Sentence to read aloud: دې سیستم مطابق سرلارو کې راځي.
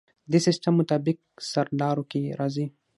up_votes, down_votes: 6, 0